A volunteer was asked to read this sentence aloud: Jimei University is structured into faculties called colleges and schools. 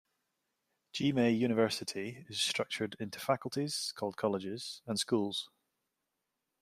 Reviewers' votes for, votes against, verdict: 2, 0, accepted